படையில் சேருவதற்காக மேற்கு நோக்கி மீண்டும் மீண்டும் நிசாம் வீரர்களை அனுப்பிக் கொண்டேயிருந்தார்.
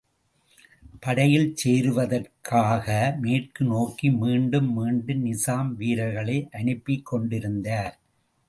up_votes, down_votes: 1, 2